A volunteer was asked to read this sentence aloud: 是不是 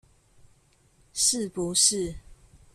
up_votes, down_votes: 2, 0